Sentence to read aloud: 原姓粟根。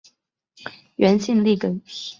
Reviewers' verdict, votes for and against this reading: accepted, 2, 1